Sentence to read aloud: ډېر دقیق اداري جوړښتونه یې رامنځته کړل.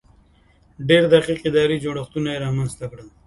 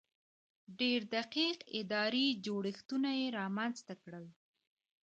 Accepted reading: first